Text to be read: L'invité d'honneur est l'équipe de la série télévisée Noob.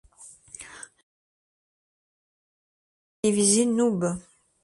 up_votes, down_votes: 0, 2